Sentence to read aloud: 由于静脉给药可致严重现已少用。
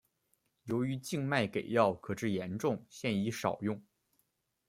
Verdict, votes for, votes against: accepted, 2, 0